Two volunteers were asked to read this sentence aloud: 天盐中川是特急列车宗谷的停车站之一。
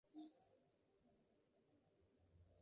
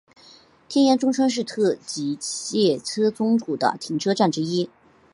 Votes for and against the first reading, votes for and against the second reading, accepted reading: 0, 3, 7, 2, second